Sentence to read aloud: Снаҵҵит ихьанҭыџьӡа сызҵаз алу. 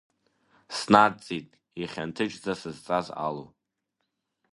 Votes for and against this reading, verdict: 2, 0, accepted